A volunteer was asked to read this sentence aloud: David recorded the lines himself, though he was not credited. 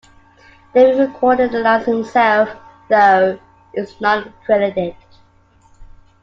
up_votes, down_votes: 2, 1